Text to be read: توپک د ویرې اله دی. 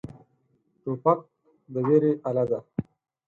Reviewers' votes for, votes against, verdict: 4, 0, accepted